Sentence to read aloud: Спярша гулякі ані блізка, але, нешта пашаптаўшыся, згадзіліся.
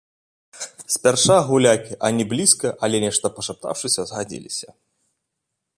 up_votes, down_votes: 1, 2